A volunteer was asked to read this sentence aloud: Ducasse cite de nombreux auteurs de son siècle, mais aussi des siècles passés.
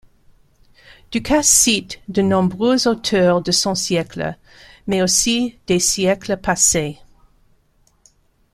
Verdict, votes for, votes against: rejected, 1, 2